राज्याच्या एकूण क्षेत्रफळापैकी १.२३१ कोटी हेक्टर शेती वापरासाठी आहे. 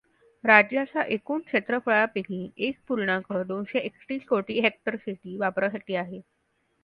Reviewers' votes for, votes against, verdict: 0, 2, rejected